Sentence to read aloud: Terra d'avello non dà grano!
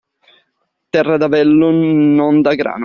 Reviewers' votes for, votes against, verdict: 2, 1, accepted